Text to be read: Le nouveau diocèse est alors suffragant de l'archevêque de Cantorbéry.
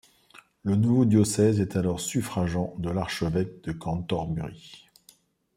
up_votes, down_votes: 0, 2